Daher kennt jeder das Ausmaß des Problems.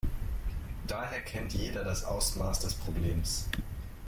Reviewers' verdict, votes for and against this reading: rejected, 0, 2